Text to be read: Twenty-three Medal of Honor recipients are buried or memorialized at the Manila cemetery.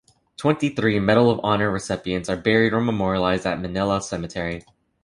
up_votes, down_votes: 1, 2